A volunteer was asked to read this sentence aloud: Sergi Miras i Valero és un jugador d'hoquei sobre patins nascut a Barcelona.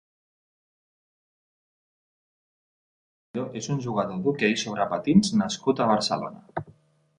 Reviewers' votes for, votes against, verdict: 1, 2, rejected